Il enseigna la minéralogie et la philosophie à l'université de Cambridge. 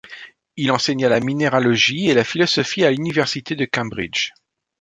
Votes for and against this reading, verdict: 2, 0, accepted